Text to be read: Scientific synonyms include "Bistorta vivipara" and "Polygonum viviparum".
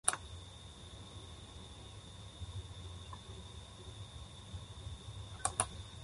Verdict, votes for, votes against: rejected, 0, 2